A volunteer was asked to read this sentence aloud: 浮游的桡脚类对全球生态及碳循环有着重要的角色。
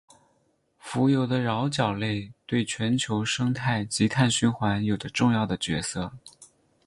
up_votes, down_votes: 0, 2